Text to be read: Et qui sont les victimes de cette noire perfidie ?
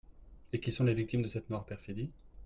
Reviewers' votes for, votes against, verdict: 2, 0, accepted